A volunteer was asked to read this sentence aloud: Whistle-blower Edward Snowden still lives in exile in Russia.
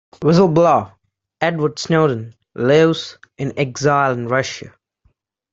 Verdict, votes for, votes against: rejected, 0, 2